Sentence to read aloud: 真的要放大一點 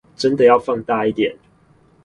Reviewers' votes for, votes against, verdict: 2, 0, accepted